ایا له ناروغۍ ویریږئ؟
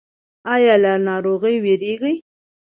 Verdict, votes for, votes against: accepted, 2, 0